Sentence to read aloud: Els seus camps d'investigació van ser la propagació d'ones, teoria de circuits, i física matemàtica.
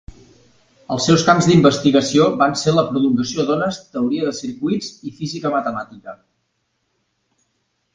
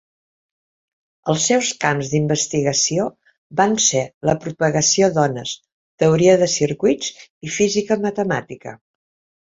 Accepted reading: second